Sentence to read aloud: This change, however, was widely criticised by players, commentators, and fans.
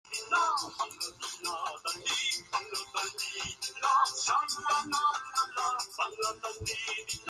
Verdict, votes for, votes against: rejected, 0, 2